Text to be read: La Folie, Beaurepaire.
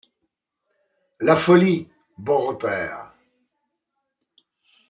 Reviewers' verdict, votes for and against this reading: accepted, 2, 0